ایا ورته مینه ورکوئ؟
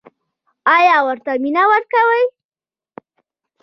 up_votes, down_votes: 1, 2